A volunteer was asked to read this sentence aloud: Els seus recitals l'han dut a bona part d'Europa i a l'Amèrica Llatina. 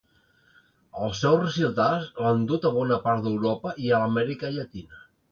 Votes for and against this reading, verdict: 0, 2, rejected